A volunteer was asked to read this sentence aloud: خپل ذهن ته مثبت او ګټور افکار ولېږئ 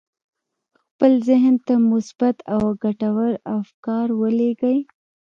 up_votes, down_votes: 1, 2